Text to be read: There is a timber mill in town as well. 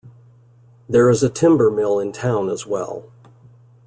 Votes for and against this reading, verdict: 2, 0, accepted